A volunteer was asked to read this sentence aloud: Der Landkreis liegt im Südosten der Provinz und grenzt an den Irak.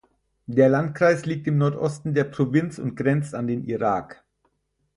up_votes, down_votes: 2, 4